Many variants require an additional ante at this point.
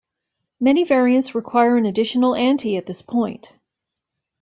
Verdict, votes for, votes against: accepted, 2, 0